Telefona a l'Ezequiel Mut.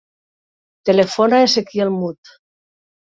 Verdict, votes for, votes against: rejected, 1, 2